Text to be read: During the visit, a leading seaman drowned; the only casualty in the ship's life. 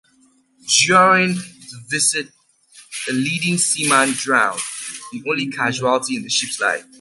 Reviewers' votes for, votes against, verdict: 2, 0, accepted